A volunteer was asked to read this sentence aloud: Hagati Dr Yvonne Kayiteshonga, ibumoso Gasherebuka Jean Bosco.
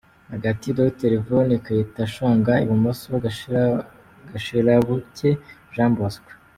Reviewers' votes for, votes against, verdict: 1, 2, rejected